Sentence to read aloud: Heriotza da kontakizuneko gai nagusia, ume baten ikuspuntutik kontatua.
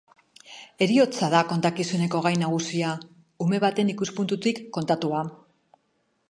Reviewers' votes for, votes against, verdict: 2, 0, accepted